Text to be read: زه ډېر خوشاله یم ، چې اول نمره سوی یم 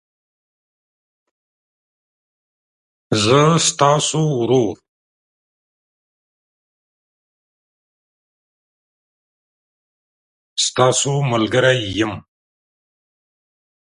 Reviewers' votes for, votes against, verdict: 0, 2, rejected